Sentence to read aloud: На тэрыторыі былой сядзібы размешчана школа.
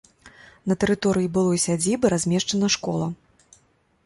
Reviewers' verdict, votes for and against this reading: accepted, 2, 0